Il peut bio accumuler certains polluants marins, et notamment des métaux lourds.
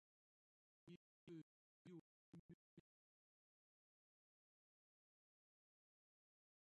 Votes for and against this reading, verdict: 0, 2, rejected